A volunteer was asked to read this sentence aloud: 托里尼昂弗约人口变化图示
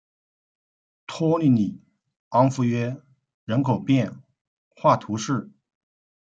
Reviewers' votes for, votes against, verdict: 1, 2, rejected